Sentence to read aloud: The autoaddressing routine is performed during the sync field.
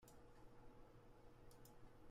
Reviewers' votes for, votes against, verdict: 0, 2, rejected